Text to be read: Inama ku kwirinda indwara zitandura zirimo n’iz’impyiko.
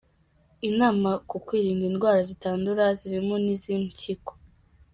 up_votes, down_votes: 1, 2